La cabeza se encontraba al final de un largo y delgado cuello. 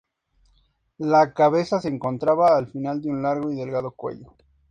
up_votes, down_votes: 2, 0